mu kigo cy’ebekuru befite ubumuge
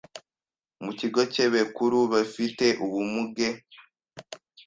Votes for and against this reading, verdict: 1, 2, rejected